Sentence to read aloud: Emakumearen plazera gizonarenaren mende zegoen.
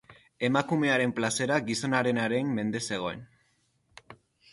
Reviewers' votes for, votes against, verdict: 2, 0, accepted